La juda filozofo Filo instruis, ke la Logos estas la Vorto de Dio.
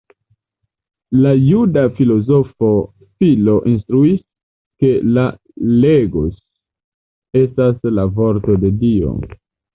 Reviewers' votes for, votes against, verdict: 1, 2, rejected